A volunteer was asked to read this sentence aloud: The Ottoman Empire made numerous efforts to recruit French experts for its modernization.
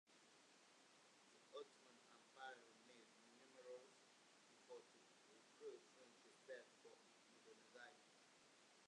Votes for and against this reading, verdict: 0, 2, rejected